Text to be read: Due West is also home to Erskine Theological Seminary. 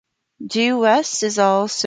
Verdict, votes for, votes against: rejected, 0, 2